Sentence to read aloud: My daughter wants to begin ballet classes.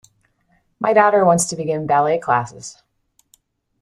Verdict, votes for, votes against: accepted, 2, 0